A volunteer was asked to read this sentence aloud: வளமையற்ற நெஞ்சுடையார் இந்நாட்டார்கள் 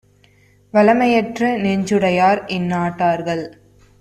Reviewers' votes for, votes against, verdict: 2, 0, accepted